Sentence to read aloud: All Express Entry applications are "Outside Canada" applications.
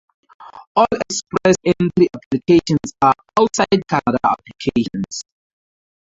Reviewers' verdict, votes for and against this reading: rejected, 0, 6